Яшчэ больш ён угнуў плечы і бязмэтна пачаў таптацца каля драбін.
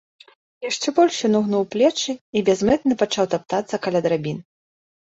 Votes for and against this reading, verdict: 2, 0, accepted